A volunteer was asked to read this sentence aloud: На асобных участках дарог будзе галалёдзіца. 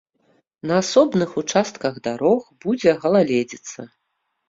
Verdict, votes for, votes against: rejected, 1, 2